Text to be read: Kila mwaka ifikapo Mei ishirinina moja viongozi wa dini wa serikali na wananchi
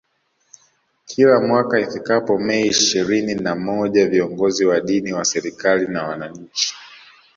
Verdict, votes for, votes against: accepted, 2, 0